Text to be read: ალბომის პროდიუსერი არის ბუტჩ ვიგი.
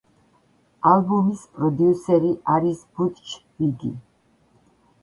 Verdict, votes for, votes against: accepted, 2, 0